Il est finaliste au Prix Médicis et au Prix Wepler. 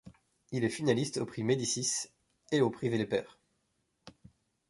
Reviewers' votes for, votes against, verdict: 1, 2, rejected